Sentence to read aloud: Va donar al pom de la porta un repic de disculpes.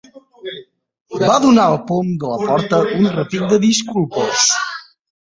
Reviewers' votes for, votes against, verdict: 0, 2, rejected